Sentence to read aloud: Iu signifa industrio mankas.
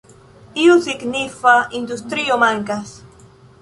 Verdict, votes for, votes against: accepted, 3, 0